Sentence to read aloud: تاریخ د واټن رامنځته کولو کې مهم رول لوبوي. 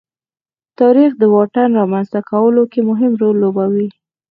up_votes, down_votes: 4, 2